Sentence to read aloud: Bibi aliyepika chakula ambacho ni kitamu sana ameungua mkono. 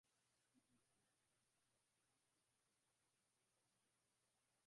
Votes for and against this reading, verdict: 0, 2, rejected